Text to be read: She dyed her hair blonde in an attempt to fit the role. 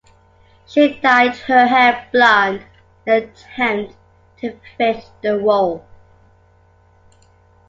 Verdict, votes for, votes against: accepted, 2, 1